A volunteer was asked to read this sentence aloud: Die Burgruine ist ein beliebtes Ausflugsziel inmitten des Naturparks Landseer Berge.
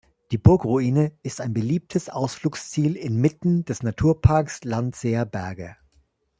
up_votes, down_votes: 2, 0